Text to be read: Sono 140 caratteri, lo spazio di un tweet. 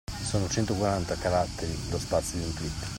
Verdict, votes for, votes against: rejected, 0, 2